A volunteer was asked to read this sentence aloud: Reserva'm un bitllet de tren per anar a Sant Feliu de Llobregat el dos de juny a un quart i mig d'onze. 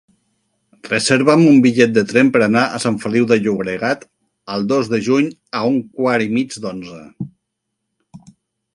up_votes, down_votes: 4, 0